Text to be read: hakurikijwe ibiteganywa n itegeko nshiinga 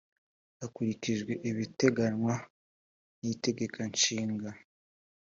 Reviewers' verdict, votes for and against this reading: accepted, 3, 0